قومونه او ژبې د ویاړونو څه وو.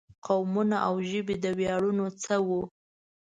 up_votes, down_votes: 2, 0